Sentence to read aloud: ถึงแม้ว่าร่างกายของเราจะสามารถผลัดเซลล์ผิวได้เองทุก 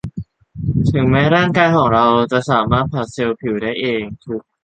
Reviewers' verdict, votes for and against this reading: rejected, 0, 2